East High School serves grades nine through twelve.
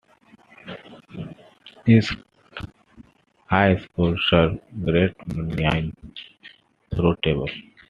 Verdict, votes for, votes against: accepted, 2, 1